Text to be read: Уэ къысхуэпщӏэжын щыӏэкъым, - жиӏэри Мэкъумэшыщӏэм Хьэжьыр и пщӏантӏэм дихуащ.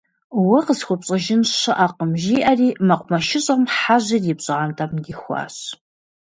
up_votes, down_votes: 2, 0